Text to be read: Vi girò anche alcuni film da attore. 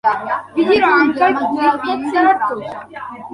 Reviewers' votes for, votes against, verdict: 0, 2, rejected